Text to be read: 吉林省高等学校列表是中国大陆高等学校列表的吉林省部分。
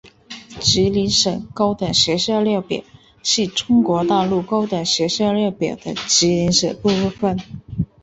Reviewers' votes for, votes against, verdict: 3, 0, accepted